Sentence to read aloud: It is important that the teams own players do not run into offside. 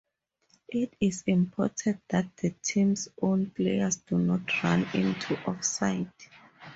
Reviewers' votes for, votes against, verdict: 4, 0, accepted